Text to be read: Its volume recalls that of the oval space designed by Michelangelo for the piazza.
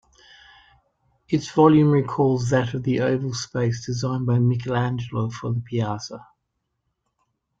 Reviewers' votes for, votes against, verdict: 2, 1, accepted